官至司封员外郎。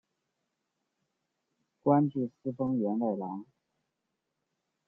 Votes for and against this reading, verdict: 2, 0, accepted